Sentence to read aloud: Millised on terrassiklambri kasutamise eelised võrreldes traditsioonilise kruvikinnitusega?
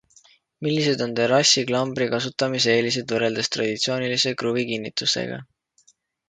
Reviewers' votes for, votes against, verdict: 2, 0, accepted